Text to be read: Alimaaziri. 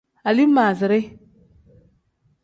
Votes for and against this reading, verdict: 2, 0, accepted